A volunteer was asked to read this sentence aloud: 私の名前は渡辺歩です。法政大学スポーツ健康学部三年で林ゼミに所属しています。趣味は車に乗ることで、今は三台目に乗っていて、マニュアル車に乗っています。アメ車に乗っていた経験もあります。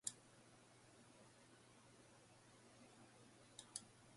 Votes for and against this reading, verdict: 0, 2, rejected